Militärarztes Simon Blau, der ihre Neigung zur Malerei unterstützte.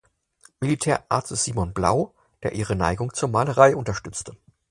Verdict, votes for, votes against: accepted, 4, 0